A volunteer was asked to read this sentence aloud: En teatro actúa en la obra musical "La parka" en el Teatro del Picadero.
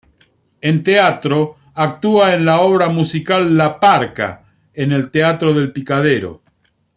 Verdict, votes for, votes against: accepted, 2, 0